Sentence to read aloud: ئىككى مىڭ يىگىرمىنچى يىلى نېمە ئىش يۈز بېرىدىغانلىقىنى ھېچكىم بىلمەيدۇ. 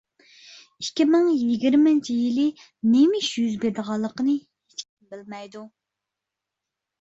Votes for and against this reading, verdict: 0, 2, rejected